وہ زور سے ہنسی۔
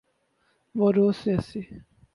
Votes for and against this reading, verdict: 0, 2, rejected